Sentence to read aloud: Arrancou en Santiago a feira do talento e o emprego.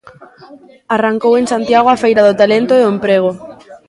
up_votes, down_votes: 1, 2